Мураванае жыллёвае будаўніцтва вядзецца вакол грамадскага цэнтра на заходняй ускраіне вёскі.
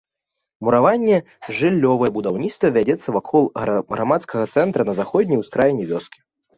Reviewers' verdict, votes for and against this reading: rejected, 1, 2